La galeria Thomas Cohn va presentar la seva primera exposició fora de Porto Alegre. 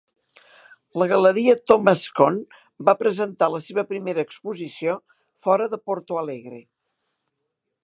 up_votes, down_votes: 2, 0